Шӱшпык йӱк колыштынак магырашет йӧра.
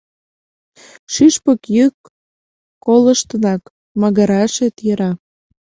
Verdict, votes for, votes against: accepted, 2, 0